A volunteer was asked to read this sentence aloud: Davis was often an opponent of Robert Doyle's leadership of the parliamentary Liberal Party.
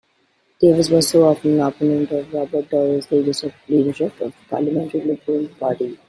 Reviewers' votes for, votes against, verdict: 2, 0, accepted